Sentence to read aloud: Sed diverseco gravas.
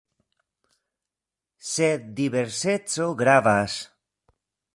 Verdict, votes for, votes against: accepted, 2, 1